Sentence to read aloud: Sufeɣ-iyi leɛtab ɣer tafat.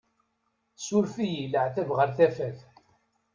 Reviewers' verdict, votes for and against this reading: rejected, 1, 2